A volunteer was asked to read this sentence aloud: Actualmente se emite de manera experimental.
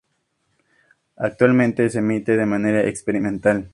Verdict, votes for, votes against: accepted, 2, 0